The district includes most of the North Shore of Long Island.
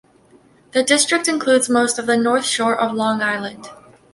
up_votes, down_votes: 2, 0